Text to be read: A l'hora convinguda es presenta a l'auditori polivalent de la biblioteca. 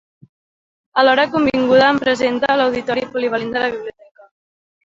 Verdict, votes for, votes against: rejected, 0, 2